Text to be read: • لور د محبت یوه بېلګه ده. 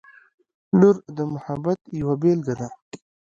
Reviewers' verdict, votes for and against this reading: accepted, 2, 0